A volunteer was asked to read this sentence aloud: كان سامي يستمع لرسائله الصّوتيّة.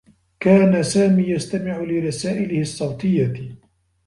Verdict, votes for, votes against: rejected, 0, 2